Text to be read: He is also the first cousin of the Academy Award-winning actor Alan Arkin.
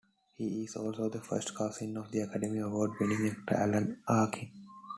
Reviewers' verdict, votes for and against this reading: rejected, 1, 2